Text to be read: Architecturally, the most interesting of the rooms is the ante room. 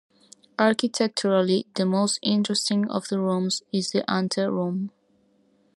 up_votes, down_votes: 2, 0